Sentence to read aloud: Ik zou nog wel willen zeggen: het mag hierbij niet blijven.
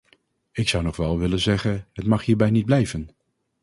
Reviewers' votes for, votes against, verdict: 2, 0, accepted